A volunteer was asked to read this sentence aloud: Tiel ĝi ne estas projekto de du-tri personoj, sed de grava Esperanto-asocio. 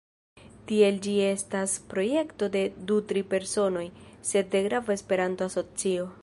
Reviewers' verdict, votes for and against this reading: rejected, 1, 2